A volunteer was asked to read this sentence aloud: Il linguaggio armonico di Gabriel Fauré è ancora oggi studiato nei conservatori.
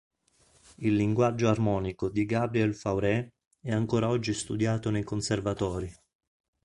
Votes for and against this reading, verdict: 2, 0, accepted